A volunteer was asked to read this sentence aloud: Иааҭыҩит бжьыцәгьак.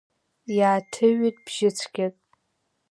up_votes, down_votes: 2, 0